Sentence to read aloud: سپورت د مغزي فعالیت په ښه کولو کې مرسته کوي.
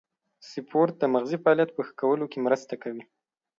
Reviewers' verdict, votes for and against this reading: accepted, 2, 0